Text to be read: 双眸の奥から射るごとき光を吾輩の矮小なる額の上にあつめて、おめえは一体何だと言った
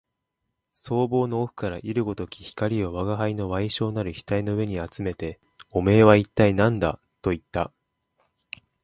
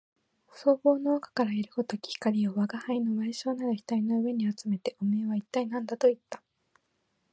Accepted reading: first